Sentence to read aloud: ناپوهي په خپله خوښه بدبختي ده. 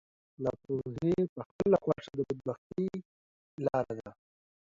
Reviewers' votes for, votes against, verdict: 0, 2, rejected